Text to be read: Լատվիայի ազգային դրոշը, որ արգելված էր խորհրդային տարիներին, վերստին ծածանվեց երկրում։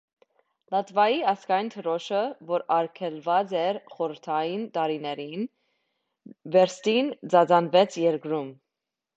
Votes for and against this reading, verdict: 1, 2, rejected